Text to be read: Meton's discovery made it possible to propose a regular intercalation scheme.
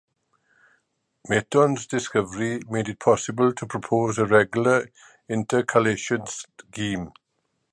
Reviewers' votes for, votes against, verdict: 0, 2, rejected